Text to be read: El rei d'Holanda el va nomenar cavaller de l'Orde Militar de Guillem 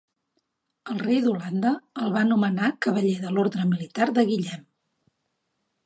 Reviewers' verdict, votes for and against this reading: accepted, 3, 0